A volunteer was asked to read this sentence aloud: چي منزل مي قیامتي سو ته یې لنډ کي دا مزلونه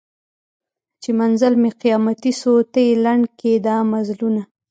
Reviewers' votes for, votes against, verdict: 1, 2, rejected